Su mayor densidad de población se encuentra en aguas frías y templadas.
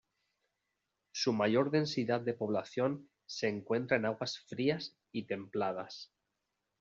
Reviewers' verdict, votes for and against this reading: accepted, 2, 0